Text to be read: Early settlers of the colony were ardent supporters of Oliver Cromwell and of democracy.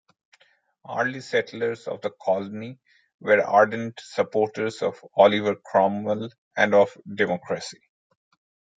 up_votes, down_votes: 2, 1